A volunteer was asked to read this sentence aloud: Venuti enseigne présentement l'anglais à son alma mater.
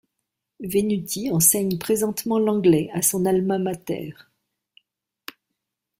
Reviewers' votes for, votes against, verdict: 2, 0, accepted